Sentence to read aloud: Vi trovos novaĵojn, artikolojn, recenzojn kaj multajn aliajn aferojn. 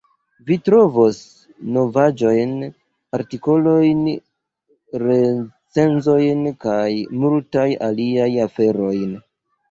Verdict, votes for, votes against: rejected, 1, 2